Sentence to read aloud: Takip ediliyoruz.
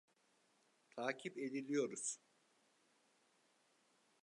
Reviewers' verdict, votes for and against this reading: rejected, 0, 2